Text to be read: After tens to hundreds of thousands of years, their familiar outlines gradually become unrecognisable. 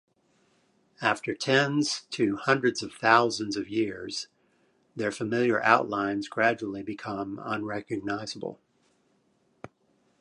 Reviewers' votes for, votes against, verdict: 1, 2, rejected